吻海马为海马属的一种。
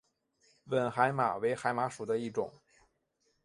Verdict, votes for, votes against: accepted, 3, 0